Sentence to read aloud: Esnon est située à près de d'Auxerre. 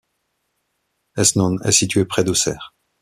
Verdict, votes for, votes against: rejected, 1, 2